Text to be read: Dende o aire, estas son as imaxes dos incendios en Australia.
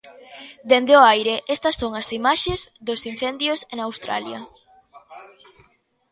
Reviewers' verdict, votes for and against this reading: rejected, 1, 2